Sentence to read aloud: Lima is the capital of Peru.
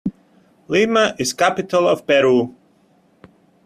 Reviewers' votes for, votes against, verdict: 1, 2, rejected